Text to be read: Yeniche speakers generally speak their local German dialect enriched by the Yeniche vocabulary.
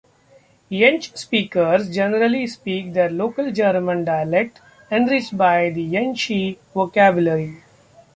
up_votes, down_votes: 0, 2